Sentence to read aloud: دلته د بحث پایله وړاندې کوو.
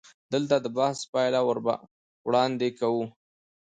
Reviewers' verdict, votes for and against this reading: rejected, 1, 2